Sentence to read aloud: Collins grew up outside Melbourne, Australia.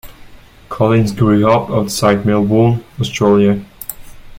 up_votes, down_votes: 2, 0